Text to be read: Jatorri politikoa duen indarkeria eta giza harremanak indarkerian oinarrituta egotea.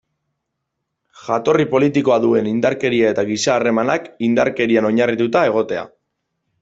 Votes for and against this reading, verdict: 2, 0, accepted